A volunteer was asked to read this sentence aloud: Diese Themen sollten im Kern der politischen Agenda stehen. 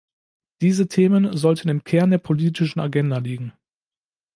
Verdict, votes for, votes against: rejected, 0, 2